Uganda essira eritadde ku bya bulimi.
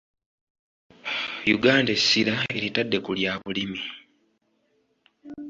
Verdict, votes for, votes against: rejected, 0, 2